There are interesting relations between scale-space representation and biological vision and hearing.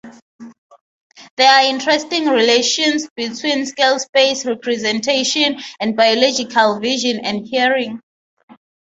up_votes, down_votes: 3, 0